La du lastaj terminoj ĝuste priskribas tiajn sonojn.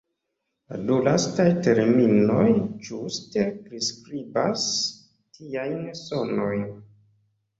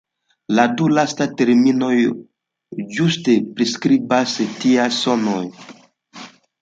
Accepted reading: first